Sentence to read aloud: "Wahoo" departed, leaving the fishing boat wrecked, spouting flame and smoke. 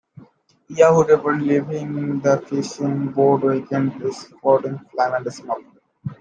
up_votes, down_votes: 0, 2